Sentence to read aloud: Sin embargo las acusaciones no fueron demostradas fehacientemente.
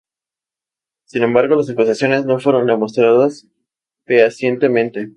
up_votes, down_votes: 4, 0